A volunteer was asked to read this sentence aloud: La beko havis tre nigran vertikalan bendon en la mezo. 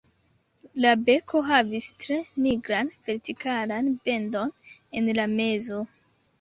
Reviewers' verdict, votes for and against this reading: rejected, 0, 2